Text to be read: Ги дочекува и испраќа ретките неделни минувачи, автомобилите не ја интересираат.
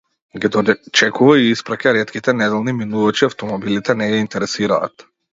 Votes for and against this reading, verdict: 0, 2, rejected